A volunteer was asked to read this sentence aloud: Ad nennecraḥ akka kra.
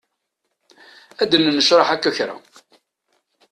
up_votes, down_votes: 2, 0